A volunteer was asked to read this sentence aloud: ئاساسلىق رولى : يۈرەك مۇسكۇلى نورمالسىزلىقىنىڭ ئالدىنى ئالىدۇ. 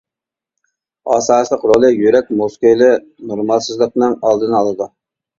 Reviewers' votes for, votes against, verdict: 0, 2, rejected